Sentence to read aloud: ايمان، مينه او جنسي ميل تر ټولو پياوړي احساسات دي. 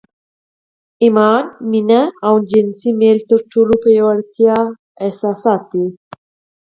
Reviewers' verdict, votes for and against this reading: rejected, 2, 4